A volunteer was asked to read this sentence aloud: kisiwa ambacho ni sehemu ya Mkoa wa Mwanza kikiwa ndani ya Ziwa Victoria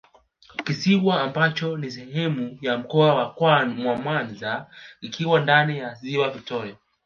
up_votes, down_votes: 0, 2